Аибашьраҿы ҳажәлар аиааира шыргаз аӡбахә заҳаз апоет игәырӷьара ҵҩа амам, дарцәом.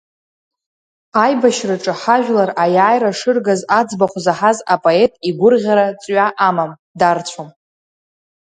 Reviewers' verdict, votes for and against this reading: accepted, 2, 1